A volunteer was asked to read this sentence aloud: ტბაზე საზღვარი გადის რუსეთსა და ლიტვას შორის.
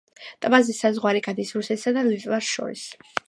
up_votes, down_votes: 0, 2